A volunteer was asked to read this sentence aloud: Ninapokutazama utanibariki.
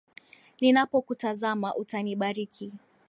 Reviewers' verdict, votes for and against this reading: accepted, 2, 0